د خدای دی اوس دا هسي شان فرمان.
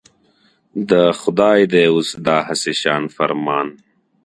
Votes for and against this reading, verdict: 2, 1, accepted